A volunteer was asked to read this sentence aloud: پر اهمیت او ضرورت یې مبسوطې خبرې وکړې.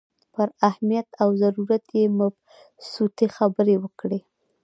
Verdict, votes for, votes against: accepted, 2, 1